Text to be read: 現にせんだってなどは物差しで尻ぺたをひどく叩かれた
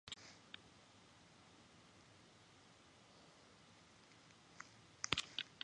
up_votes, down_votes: 0, 2